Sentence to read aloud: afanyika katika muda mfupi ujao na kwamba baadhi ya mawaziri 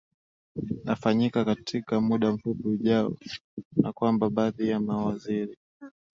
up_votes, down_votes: 2, 0